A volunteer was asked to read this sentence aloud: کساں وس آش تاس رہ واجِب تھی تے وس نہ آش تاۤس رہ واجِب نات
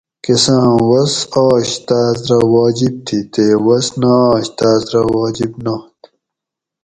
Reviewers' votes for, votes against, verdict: 4, 0, accepted